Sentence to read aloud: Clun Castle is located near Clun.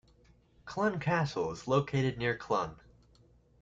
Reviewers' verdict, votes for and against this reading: accepted, 2, 0